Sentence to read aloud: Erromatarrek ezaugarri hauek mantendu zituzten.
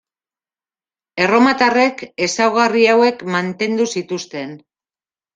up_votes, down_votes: 2, 0